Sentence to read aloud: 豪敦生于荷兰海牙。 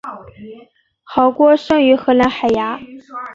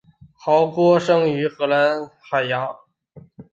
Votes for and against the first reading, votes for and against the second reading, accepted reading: 0, 2, 2, 1, second